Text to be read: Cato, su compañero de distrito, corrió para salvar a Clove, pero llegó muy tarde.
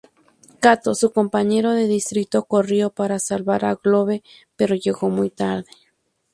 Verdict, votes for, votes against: accepted, 2, 0